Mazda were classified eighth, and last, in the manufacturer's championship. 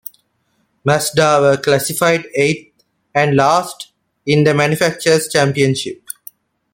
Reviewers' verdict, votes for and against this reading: accepted, 2, 0